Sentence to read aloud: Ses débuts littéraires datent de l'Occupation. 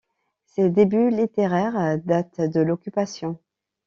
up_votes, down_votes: 2, 0